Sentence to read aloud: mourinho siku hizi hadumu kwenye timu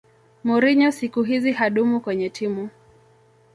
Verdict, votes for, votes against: accepted, 2, 0